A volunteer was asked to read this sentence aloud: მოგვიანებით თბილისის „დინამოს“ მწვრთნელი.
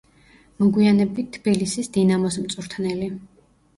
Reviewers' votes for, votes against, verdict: 2, 0, accepted